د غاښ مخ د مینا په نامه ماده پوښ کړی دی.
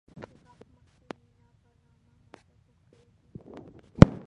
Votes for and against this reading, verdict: 0, 2, rejected